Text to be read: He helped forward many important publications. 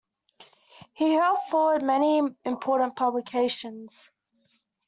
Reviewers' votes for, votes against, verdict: 2, 1, accepted